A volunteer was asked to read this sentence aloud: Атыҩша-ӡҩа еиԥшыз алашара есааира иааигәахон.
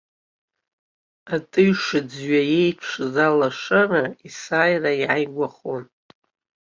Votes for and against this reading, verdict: 2, 0, accepted